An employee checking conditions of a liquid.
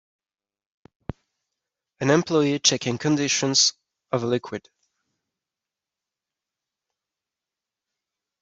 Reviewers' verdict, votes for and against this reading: accepted, 2, 0